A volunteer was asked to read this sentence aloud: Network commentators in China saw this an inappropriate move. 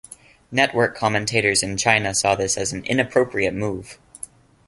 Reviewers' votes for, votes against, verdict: 1, 2, rejected